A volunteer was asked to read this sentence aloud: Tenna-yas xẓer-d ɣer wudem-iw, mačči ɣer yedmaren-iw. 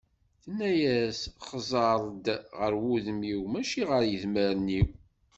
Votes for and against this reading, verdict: 2, 0, accepted